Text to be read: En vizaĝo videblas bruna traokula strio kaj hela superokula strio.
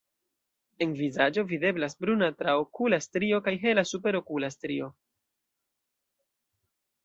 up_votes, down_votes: 2, 1